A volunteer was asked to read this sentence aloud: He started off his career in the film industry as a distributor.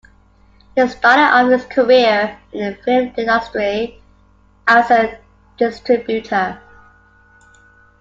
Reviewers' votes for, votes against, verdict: 2, 1, accepted